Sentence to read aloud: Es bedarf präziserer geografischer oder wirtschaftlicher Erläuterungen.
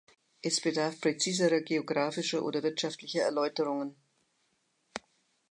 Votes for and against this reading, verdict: 3, 0, accepted